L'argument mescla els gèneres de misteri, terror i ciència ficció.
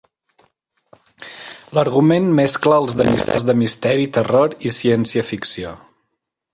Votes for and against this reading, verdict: 0, 2, rejected